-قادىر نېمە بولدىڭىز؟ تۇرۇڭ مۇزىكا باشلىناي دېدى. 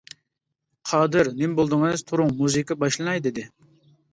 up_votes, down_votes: 2, 0